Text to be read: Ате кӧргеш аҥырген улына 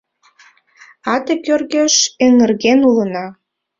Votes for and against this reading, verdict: 0, 2, rejected